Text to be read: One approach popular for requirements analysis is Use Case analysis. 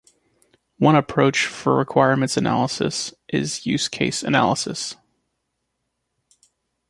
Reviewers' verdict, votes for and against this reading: rejected, 0, 2